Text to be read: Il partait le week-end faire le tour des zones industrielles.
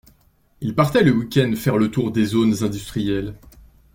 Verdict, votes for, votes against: accepted, 2, 0